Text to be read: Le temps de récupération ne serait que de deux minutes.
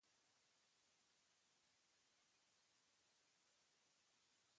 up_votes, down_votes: 0, 2